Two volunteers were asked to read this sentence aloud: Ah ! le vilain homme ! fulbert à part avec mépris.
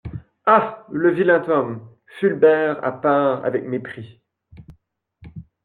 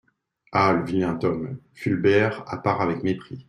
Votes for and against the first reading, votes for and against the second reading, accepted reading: 2, 1, 0, 2, first